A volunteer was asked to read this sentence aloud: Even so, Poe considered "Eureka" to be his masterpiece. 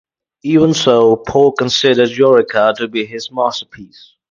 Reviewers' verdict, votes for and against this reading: rejected, 2, 2